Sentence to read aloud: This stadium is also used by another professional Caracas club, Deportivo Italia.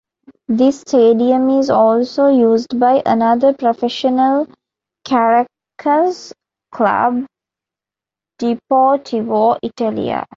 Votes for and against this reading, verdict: 0, 2, rejected